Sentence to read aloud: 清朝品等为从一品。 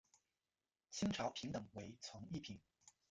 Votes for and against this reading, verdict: 1, 2, rejected